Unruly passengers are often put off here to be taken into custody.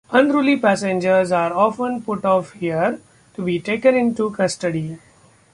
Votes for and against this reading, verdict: 2, 0, accepted